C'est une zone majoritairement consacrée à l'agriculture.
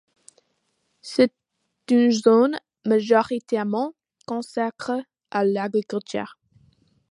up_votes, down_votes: 2, 0